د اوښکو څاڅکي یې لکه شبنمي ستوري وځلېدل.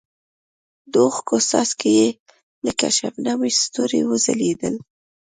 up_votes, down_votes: 2, 0